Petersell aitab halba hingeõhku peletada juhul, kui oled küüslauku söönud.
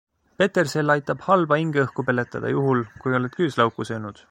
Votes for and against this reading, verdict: 2, 0, accepted